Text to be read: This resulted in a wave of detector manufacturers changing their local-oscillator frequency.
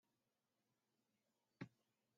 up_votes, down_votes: 0, 2